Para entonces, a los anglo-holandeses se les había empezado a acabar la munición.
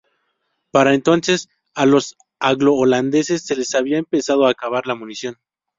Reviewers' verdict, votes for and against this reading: accepted, 2, 0